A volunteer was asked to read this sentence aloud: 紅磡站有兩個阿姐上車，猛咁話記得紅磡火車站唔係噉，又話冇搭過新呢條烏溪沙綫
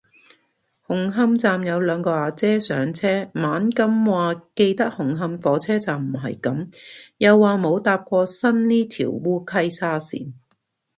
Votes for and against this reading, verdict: 2, 0, accepted